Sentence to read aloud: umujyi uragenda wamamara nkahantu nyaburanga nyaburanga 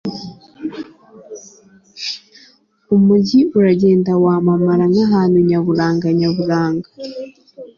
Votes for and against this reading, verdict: 3, 0, accepted